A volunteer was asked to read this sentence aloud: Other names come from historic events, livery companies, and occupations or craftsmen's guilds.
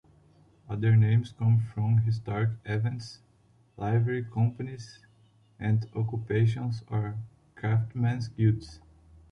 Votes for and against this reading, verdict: 2, 0, accepted